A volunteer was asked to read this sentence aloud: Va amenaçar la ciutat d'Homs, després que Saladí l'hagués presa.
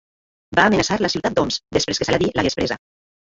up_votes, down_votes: 2, 0